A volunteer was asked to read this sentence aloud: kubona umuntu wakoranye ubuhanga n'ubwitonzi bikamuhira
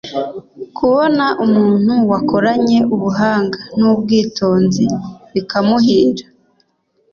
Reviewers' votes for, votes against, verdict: 3, 0, accepted